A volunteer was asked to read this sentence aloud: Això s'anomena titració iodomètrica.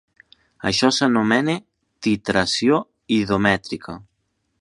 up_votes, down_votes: 2, 1